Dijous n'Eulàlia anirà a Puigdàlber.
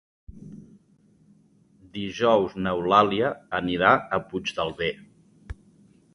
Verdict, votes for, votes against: rejected, 1, 2